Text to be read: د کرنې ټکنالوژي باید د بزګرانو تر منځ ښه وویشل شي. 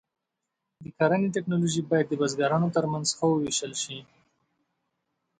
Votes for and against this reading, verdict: 2, 0, accepted